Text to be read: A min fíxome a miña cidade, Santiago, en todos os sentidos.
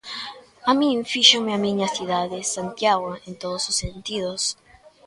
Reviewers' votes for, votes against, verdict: 0, 2, rejected